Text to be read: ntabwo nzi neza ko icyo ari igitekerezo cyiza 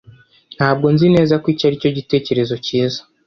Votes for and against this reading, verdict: 0, 2, rejected